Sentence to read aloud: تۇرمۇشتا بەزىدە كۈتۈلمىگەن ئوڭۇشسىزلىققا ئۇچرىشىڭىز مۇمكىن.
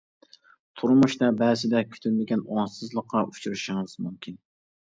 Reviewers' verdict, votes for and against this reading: rejected, 1, 2